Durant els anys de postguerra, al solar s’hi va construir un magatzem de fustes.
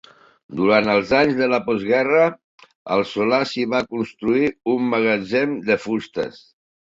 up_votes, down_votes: 2, 1